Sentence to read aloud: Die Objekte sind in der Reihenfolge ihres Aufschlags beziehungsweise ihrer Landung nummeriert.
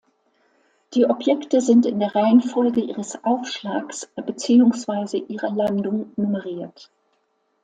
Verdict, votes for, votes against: accepted, 2, 0